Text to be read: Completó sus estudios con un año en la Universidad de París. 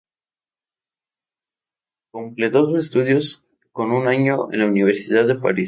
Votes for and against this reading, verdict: 0, 2, rejected